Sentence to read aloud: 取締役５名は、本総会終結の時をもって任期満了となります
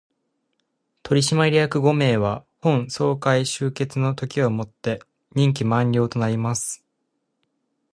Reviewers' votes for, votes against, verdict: 0, 2, rejected